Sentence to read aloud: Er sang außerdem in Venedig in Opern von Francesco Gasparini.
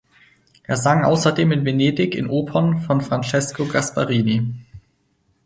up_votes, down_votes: 4, 2